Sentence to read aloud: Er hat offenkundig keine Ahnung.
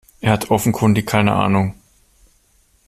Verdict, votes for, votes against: accepted, 2, 0